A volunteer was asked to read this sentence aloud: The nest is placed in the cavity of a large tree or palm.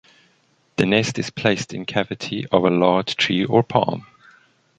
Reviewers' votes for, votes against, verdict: 1, 2, rejected